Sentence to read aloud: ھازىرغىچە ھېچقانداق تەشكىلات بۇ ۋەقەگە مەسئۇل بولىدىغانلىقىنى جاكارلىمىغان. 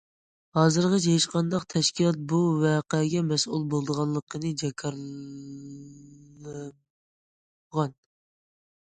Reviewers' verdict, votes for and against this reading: rejected, 1, 2